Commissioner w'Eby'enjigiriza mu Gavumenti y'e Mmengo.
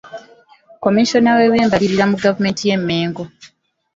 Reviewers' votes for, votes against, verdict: 0, 2, rejected